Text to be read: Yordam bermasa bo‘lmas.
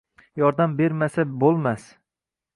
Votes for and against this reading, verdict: 2, 0, accepted